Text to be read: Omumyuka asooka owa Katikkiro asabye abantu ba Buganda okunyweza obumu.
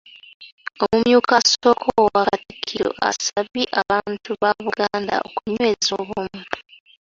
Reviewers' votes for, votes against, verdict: 3, 2, accepted